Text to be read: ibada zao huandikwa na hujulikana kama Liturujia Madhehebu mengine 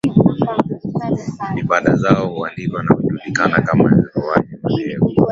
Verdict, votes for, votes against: rejected, 0, 2